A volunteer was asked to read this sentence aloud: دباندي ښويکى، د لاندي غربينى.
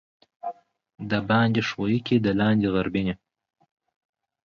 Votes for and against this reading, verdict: 0, 2, rejected